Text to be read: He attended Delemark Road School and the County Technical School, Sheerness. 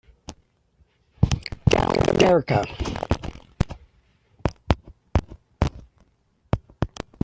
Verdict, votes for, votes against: rejected, 0, 2